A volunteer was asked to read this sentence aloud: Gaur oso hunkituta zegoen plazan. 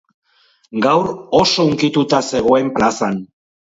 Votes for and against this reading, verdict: 6, 0, accepted